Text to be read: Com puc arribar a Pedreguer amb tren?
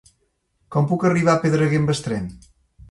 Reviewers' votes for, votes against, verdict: 0, 2, rejected